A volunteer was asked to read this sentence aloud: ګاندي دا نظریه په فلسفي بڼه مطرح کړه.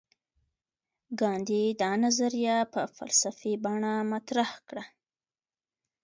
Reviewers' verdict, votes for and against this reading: accepted, 2, 0